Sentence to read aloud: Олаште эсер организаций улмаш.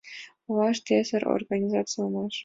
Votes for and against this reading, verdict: 2, 0, accepted